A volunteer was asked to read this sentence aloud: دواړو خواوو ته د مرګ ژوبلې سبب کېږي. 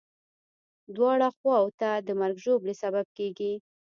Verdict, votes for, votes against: rejected, 1, 2